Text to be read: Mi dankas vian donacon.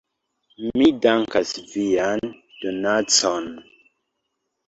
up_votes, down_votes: 2, 1